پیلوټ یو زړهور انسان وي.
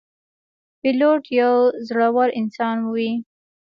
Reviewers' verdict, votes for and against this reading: rejected, 0, 2